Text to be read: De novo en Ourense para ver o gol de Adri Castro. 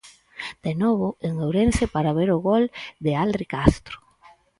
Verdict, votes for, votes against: rejected, 0, 4